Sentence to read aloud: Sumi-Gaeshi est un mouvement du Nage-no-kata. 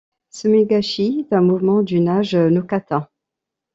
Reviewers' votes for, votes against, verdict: 2, 1, accepted